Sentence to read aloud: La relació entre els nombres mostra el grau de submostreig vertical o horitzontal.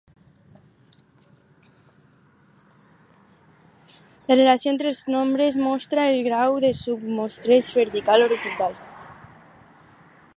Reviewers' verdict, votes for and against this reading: rejected, 0, 4